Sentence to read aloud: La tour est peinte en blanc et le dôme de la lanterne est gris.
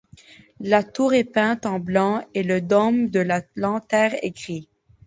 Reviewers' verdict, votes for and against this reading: rejected, 1, 2